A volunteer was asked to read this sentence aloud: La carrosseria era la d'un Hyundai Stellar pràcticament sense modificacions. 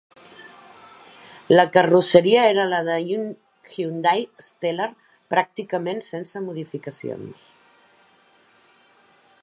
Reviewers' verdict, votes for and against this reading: rejected, 1, 2